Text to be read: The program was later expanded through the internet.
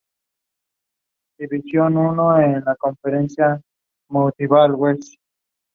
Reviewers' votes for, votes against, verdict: 0, 2, rejected